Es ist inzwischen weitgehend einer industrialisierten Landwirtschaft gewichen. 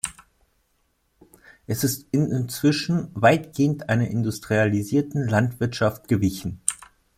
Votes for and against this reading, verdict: 1, 2, rejected